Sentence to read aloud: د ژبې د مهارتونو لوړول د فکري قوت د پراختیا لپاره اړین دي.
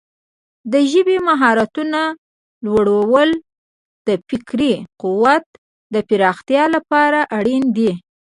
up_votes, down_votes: 1, 2